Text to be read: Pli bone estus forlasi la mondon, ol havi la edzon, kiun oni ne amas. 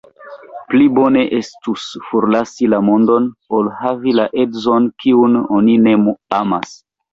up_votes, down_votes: 1, 3